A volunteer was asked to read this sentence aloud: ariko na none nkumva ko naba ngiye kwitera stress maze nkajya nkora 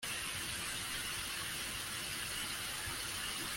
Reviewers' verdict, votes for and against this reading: rejected, 0, 2